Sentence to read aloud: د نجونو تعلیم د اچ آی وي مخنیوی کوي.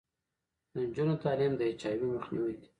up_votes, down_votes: 0, 2